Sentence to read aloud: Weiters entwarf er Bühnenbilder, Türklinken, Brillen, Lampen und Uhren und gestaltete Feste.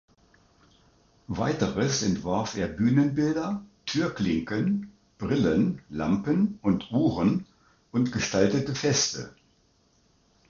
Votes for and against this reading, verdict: 2, 0, accepted